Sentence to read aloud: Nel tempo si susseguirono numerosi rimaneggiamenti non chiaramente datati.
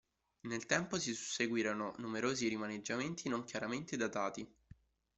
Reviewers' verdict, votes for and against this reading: accepted, 2, 0